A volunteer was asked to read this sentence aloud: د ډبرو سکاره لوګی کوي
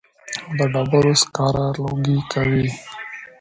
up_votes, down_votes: 0, 2